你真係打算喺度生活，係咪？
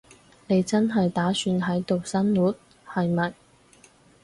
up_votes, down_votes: 4, 0